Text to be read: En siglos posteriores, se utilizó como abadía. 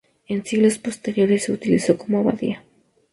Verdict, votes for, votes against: accepted, 2, 0